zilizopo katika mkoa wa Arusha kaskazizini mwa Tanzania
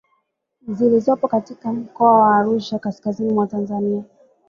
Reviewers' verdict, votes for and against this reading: accepted, 2, 0